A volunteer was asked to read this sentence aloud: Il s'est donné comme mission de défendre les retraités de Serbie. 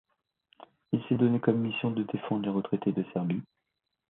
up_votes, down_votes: 2, 0